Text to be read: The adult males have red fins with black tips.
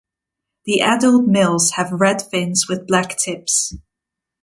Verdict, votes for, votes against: accepted, 2, 0